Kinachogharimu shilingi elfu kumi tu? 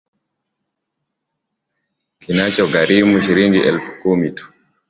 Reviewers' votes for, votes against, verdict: 2, 0, accepted